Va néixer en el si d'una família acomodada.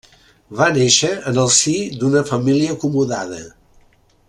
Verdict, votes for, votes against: accepted, 3, 0